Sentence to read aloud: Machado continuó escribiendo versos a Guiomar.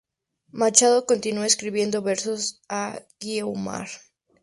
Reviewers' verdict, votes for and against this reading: accepted, 2, 0